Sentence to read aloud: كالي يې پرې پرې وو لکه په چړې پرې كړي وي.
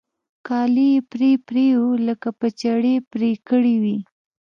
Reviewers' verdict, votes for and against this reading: accepted, 2, 0